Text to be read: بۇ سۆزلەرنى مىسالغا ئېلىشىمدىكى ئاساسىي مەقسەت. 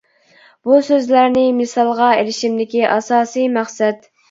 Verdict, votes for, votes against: accepted, 2, 0